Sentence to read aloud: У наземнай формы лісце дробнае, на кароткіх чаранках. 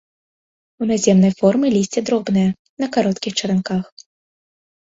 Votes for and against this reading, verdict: 2, 0, accepted